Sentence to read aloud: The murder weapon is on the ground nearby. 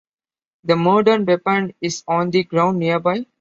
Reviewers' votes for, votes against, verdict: 2, 0, accepted